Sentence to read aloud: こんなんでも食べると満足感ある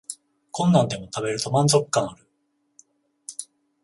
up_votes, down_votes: 0, 14